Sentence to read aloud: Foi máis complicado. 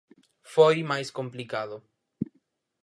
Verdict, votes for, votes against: accepted, 4, 0